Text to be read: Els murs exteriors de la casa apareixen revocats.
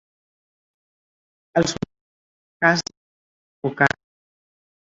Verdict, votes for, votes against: rejected, 1, 2